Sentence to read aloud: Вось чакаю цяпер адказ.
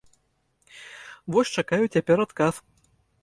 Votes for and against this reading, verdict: 2, 0, accepted